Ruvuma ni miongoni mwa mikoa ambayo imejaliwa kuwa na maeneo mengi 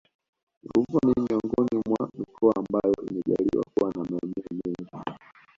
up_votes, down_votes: 0, 2